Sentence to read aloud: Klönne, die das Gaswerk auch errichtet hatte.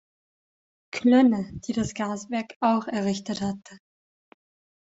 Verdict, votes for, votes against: accepted, 2, 0